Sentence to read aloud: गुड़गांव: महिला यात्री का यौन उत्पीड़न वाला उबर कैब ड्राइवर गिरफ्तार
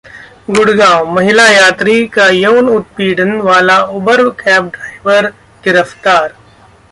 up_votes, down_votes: 1, 2